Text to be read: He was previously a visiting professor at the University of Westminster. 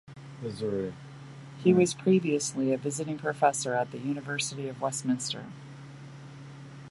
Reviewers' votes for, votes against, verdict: 0, 2, rejected